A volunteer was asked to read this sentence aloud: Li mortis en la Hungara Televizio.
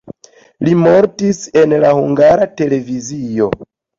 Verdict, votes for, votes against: accepted, 2, 0